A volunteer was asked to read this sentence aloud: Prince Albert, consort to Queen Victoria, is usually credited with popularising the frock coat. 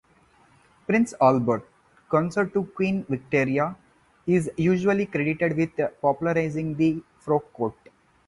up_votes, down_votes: 0, 2